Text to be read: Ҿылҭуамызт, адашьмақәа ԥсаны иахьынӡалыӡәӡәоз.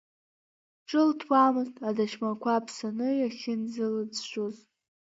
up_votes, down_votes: 0, 2